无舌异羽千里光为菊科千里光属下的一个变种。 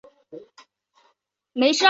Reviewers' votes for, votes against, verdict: 0, 2, rejected